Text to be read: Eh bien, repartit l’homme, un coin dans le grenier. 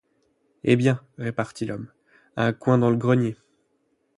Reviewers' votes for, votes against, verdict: 4, 8, rejected